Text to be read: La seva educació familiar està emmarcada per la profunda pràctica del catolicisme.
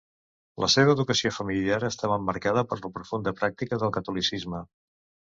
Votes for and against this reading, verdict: 1, 2, rejected